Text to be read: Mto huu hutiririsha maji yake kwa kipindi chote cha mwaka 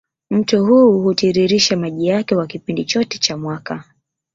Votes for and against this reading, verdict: 1, 2, rejected